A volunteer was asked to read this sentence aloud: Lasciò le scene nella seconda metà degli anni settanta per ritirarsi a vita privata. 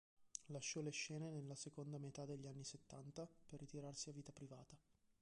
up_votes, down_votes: 2, 0